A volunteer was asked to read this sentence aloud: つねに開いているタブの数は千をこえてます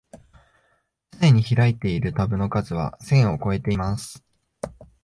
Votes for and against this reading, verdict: 3, 0, accepted